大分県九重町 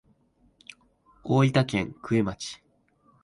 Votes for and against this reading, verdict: 1, 2, rejected